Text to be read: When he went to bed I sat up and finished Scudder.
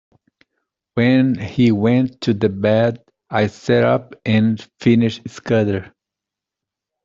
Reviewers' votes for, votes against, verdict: 0, 2, rejected